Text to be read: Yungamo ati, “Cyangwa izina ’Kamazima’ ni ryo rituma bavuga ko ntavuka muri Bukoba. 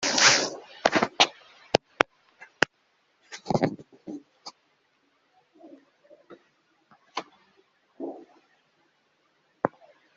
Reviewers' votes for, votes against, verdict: 0, 2, rejected